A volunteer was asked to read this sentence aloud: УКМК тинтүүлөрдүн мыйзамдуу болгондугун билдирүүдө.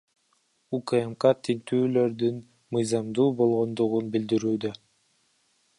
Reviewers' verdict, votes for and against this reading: rejected, 0, 2